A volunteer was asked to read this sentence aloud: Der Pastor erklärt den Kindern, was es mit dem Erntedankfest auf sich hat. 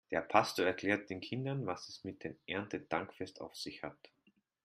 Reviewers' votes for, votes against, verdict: 2, 0, accepted